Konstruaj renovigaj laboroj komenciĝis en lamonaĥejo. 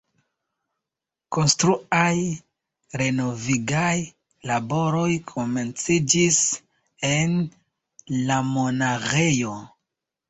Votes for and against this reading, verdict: 2, 1, accepted